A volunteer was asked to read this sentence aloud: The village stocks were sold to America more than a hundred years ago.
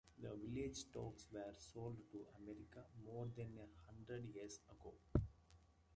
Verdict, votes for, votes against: rejected, 0, 2